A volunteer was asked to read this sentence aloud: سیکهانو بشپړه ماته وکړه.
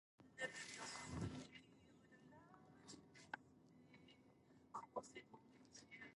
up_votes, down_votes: 0, 2